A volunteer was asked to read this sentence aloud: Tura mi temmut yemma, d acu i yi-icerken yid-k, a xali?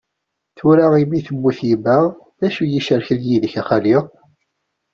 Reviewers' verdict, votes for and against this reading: accepted, 2, 0